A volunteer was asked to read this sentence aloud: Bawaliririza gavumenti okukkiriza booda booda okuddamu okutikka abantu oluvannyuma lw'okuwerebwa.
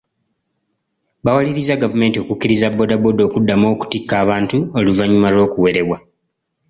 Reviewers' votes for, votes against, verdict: 1, 2, rejected